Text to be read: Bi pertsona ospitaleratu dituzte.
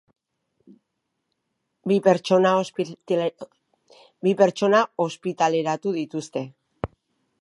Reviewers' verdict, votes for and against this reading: rejected, 0, 2